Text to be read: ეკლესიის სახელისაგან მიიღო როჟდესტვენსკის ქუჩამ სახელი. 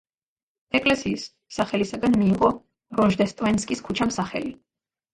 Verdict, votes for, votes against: accepted, 2, 0